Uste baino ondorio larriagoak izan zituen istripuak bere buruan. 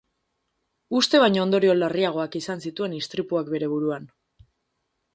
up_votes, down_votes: 2, 0